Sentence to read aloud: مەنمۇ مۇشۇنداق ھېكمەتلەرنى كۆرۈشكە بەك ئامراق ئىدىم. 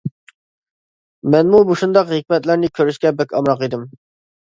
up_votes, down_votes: 2, 0